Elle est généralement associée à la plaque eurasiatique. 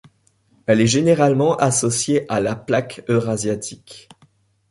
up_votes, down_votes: 2, 0